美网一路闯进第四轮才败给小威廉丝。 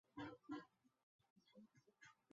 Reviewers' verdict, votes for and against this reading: rejected, 0, 2